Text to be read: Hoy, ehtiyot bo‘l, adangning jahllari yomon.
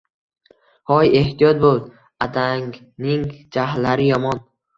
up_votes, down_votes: 2, 0